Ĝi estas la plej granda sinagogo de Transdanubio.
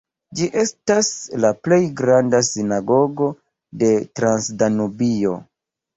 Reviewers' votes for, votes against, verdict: 0, 2, rejected